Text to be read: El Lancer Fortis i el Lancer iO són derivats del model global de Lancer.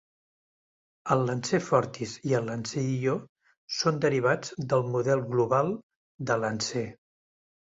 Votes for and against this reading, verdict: 2, 0, accepted